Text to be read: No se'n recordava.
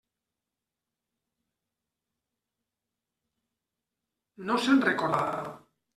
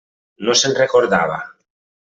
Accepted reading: second